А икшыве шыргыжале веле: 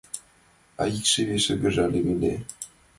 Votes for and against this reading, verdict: 2, 0, accepted